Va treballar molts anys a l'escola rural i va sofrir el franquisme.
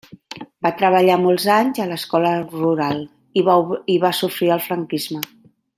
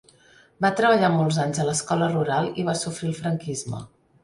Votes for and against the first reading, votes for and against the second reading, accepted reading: 1, 2, 4, 0, second